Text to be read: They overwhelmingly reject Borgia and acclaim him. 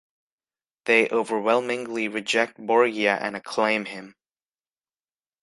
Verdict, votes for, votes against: rejected, 1, 2